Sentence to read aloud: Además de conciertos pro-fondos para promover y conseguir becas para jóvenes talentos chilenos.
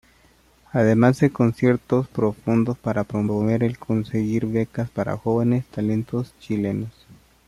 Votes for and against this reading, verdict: 1, 2, rejected